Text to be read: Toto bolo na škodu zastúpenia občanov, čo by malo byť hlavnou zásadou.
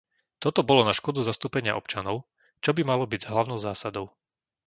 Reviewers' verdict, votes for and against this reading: rejected, 0, 2